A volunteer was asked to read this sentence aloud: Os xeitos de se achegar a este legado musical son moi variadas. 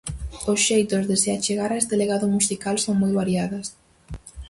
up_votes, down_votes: 2, 2